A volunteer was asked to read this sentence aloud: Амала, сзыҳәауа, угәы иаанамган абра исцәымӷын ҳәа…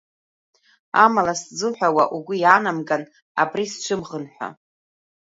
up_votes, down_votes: 1, 2